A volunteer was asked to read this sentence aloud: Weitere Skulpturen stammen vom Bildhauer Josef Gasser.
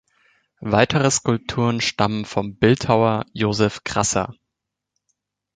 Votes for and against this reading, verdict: 0, 2, rejected